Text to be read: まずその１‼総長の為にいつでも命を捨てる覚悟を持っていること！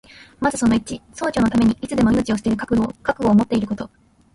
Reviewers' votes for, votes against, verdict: 0, 2, rejected